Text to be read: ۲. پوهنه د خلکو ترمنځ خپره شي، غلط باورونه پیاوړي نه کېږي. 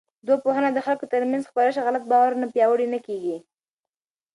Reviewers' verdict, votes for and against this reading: rejected, 0, 2